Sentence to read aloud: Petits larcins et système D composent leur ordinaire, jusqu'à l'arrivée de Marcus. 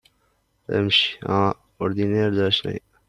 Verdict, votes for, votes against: rejected, 0, 2